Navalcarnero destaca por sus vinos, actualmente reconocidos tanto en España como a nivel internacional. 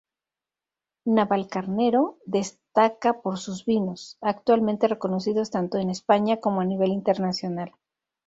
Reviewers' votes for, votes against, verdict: 0, 2, rejected